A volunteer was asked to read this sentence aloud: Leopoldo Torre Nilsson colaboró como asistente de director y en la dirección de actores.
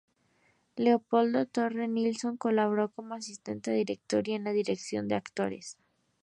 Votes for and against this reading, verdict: 2, 0, accepted